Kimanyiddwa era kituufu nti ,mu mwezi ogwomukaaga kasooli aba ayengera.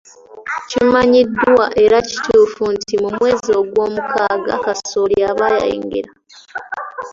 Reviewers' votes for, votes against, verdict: 2, 0, accepted